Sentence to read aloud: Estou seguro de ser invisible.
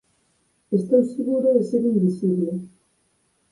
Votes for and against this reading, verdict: 4, 2, accepted